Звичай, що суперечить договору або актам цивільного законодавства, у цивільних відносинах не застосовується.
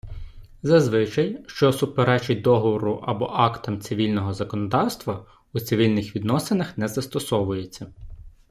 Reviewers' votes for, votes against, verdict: 0, 2, rejected